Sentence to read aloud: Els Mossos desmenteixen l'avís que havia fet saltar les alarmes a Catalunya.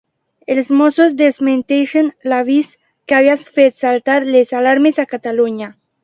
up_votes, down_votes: 2, 1